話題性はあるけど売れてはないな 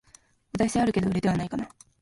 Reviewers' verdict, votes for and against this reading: rejected, 1, 2